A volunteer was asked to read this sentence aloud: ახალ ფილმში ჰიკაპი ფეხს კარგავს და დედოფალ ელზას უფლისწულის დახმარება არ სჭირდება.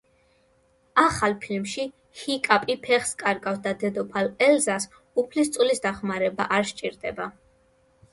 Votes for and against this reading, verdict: 1, 2, rejected